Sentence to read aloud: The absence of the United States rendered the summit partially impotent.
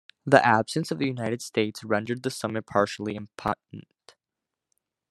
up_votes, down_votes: 1, 2